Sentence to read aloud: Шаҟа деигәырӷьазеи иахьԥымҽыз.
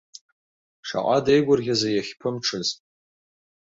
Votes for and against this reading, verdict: 2, 0, accepted